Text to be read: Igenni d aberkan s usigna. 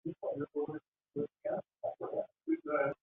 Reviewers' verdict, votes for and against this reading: rejected, 0, 2